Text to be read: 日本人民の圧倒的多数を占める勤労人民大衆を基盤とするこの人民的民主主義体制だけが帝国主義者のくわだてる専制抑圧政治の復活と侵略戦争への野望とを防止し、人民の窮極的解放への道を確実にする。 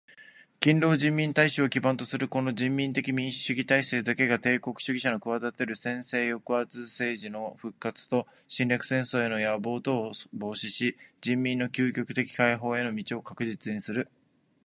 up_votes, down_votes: 2, 1